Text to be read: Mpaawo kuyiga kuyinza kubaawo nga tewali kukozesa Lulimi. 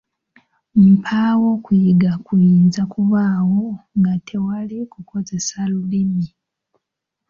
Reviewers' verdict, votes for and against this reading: accepted, 2, 0